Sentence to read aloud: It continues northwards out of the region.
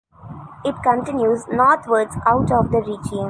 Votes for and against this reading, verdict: 2, 0, accepted